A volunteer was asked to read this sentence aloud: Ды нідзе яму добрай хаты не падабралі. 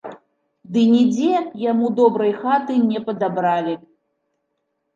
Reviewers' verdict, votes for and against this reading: accepted, 2, 0